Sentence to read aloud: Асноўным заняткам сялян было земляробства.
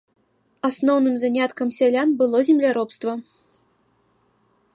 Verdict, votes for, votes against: accepted, 2, 0